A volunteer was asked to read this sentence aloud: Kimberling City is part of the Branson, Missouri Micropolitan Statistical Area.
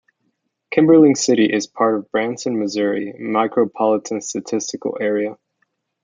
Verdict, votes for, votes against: rejected, 0, 2